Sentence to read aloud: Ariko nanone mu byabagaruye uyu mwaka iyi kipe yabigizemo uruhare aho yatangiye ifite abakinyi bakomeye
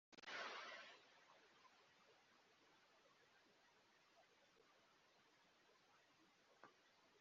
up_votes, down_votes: 2, 0